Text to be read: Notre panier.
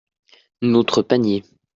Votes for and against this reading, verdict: 2, 0, accepted